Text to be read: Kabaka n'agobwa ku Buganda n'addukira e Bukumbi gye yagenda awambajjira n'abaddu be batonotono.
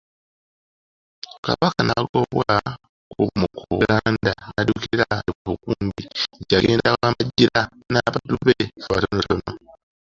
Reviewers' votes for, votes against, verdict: 2, 0, accepted